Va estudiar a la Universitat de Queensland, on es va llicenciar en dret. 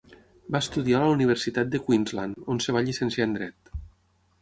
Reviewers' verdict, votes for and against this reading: rejected, 3, 6